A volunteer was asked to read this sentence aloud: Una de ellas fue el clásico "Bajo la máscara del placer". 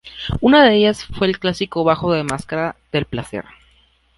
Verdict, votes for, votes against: rejected, 0, 2